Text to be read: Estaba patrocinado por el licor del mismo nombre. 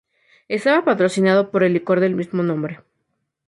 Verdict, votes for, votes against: accepted, 2, 0